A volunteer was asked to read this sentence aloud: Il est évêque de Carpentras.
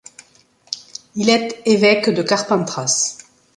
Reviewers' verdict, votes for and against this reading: rejected, 0, 2